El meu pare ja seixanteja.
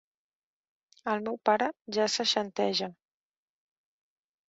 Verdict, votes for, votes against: accepted, 2, 0